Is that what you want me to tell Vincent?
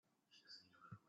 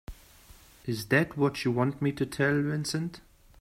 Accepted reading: second